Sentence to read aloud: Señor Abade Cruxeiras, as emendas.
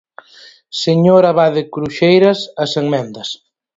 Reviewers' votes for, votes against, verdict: 4, 0, accepted